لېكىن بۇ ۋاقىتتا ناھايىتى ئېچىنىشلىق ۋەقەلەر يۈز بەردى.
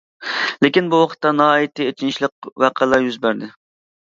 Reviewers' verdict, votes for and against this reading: accepted, 2, 0